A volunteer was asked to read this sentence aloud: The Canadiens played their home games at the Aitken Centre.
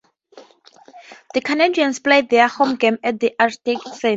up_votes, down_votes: 0, 4